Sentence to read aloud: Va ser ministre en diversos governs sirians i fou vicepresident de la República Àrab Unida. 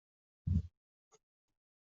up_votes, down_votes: 0, 2